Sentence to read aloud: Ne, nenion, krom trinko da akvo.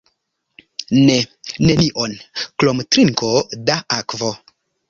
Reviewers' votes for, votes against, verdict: 1, 2, rejected